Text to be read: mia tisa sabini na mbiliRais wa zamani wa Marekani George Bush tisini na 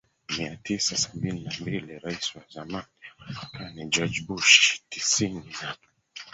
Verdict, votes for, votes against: rejected, 1, 4